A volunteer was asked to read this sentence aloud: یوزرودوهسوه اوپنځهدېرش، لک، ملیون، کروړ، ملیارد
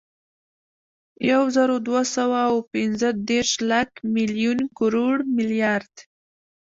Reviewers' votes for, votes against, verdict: 2, 1, accepted